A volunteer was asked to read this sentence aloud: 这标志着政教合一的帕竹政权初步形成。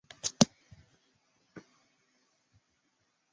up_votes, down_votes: 0, 5